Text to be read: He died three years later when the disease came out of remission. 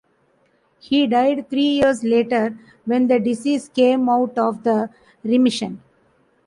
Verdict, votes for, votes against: rejected, 0, 2